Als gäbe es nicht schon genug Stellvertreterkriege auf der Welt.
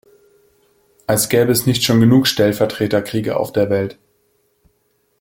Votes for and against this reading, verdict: 2, 0, accepted